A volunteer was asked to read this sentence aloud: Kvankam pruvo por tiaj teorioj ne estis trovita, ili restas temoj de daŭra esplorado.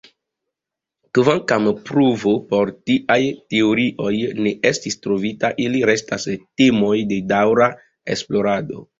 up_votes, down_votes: 1, 2